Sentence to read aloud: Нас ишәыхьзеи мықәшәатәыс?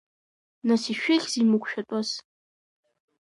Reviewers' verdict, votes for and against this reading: accepted, 2, 1